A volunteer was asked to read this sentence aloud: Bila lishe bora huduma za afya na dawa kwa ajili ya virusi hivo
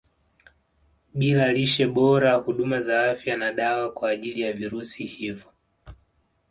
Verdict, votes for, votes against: accepted, 2, 0